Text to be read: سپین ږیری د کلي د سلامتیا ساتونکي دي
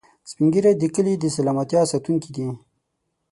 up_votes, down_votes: 6, 0